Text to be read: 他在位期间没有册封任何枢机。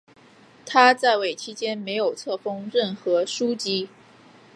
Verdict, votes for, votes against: accepted, 3, 0